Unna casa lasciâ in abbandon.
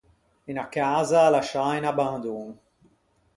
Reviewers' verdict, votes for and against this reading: rejected, 2, 4